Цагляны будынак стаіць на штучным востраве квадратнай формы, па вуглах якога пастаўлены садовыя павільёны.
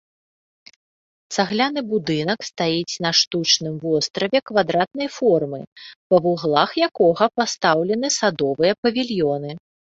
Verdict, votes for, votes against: accepted, 3, 0